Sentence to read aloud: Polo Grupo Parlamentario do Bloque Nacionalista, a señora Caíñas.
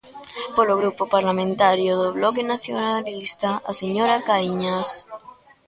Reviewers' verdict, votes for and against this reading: rejected, 1, 2